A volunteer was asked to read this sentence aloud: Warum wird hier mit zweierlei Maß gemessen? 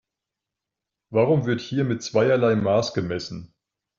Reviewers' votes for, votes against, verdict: 2, 0, accepted